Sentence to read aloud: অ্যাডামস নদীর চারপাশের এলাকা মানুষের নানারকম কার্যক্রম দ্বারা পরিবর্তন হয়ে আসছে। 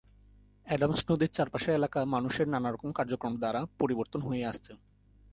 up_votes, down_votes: 1, 2